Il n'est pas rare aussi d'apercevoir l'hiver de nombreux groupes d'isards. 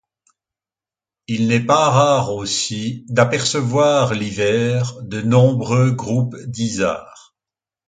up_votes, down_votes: 2, 0